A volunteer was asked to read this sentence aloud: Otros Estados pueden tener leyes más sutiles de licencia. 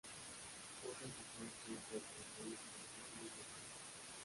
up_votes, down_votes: 0, 2